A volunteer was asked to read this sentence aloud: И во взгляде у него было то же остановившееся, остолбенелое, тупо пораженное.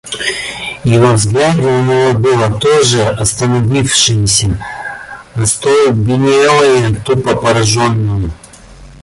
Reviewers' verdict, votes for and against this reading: rejected, 0, 2